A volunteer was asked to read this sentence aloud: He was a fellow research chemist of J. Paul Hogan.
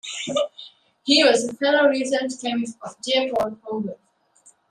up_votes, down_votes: 2, 1